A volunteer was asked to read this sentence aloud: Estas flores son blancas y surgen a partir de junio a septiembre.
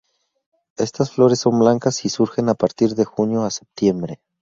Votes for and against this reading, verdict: 2, 0, accepted